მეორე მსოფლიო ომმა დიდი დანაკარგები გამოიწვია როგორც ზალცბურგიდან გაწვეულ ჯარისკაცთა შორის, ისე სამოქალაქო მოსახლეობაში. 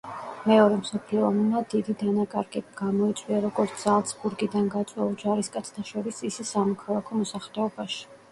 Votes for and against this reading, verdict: 0, 2, rejected